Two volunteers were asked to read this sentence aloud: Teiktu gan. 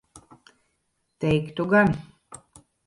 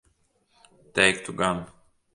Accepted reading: second